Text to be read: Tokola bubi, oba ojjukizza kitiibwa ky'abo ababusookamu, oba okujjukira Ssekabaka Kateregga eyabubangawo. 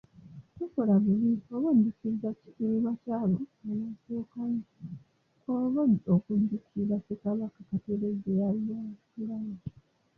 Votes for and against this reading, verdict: 0, 2, rejected